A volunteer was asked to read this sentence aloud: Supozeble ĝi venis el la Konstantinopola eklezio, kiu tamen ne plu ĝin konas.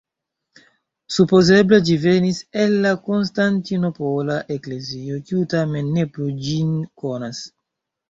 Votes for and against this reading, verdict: 1, 2, rejected